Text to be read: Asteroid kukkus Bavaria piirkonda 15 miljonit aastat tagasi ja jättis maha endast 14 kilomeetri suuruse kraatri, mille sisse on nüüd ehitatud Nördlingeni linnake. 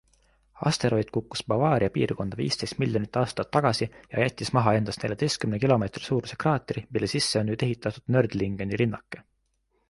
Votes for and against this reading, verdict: 0, 2, rejected